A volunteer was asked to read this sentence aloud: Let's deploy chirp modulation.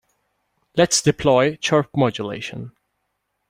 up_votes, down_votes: 2, 0